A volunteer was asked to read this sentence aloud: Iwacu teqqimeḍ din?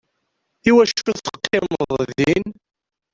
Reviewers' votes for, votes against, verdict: 0, 2, rejected